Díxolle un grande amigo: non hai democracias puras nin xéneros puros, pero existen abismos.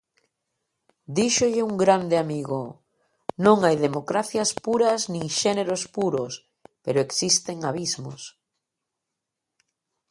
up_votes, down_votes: 2, 0